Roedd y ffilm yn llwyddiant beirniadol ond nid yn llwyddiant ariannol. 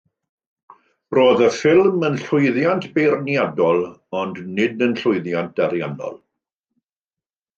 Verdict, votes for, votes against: accepted, 2, 0